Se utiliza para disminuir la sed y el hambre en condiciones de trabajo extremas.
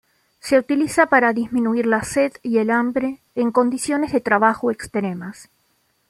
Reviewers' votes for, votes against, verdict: 2, 0, accepted